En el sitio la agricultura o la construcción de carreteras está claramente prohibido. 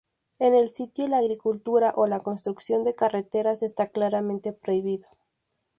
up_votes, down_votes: 2, 0